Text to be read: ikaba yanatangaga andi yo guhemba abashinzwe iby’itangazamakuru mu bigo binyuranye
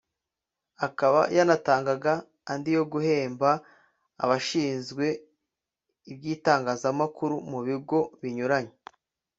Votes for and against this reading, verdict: 0, 2, rejected